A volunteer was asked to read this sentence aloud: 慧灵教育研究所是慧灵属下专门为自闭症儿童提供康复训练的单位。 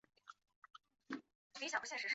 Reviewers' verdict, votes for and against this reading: rejected, 0, 2